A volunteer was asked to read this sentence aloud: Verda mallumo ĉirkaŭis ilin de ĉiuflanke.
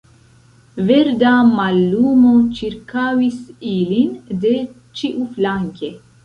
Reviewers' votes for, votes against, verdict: 1, 2, rejected